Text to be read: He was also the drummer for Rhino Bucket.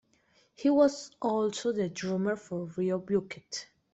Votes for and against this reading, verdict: 0, 2, rejected